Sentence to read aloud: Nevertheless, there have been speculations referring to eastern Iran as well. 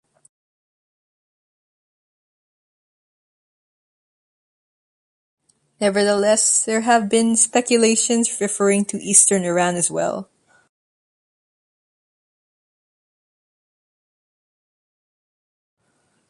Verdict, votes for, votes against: accepted, 2, 1